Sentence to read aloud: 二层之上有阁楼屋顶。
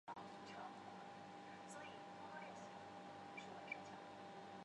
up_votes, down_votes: 0, 2